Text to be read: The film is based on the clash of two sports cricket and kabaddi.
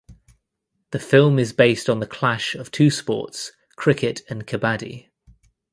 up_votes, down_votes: 2, 0